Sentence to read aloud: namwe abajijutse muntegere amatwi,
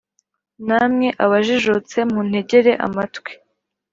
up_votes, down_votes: 2, 0